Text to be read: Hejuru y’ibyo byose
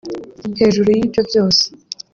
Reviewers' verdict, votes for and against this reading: rejected, 0, 2